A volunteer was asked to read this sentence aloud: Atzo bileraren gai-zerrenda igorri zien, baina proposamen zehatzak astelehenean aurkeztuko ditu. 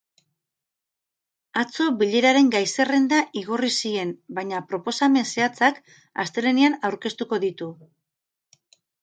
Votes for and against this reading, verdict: 10, 0, accepted